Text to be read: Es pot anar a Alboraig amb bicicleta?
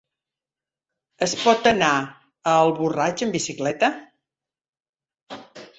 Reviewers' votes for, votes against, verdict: 1, 3, rejected